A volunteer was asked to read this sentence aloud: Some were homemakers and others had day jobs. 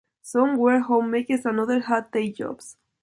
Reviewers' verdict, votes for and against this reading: rejected, 1, 2